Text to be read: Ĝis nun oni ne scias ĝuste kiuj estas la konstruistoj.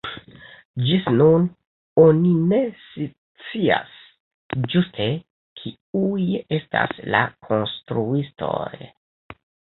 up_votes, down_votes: 1, 2